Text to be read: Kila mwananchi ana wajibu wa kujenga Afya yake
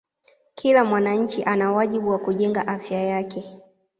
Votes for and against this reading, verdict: 2, 0, accepted